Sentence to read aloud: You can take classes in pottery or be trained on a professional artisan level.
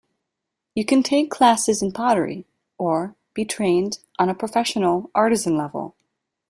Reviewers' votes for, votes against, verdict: 2, 0, accepted